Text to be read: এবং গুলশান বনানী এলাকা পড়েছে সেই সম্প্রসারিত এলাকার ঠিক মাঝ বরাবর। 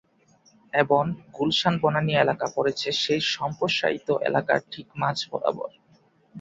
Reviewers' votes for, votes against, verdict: 2, 4, rejected